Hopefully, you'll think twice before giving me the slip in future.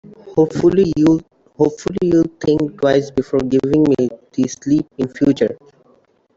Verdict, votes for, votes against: rejected, 1, 2